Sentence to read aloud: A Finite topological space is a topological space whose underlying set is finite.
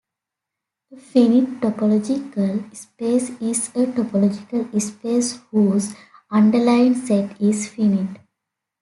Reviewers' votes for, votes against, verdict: 0, 2, rejected